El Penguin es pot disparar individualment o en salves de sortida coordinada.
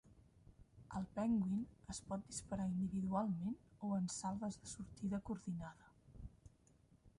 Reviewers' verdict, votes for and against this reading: rejected, 0, 2